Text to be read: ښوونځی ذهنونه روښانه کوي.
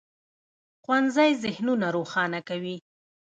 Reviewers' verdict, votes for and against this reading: rejected, 1, 2